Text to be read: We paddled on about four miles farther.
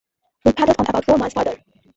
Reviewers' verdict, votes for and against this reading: accepted, 2, 0